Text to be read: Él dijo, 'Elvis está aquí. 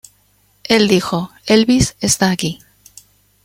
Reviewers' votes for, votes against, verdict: 0, 2, rejected